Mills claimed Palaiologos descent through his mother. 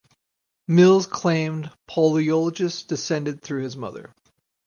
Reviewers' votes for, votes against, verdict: 2, 4, rejected